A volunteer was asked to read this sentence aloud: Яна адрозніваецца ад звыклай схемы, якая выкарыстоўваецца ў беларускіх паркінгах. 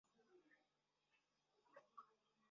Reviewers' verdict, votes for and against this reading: rejected, 0, 2